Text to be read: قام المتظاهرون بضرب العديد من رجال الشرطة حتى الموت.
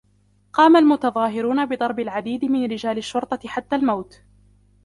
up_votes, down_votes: 0, 2